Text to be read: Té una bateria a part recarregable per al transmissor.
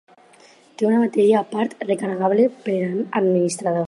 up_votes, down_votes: 0, 4